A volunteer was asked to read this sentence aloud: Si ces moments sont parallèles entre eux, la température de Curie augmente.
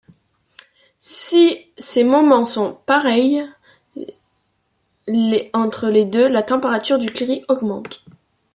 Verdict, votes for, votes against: rejected, 1, 2